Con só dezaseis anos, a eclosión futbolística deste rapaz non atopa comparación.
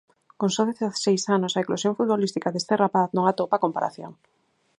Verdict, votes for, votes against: accepted, 4, 0